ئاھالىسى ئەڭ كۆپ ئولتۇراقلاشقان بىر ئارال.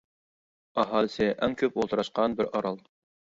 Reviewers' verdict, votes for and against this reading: rejected, 0, 2